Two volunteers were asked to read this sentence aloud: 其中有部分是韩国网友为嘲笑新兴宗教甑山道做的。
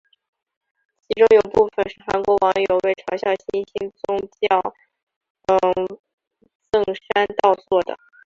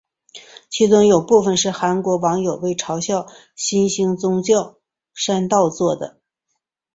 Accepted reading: second